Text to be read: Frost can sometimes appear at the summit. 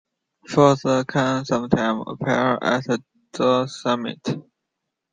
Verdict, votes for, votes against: rejected, 1, 2